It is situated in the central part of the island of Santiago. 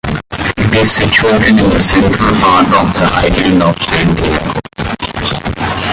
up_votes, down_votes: 1, 2